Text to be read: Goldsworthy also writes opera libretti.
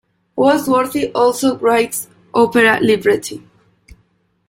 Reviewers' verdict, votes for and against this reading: accepted, 2, 0